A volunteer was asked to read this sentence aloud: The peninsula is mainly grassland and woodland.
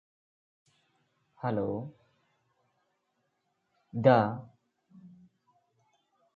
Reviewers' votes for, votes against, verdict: 0, 2, rejected